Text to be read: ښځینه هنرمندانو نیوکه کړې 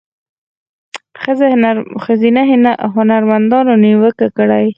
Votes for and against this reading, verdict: 0, 4, rejected